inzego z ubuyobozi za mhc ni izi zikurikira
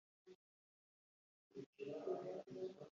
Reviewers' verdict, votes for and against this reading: rejected, 1, 2